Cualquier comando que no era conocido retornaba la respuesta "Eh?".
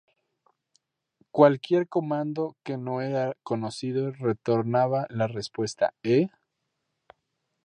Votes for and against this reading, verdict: 0, 2, rejected